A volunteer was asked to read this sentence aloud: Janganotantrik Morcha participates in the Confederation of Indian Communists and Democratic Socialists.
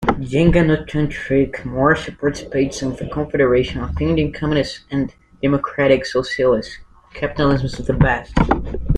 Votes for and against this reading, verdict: 1, 2, rejected